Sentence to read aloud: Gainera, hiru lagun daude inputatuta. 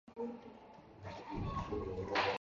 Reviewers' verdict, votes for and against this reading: rejected, 0, 2